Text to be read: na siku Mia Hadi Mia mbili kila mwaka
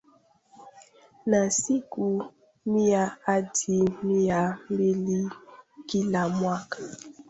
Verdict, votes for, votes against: rejected, 1, 2